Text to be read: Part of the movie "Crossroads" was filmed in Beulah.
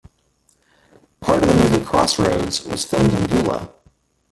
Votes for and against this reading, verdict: 0, 2, rejected